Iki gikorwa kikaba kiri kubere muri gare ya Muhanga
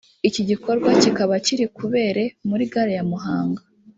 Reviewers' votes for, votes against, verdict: 0, 2, rejected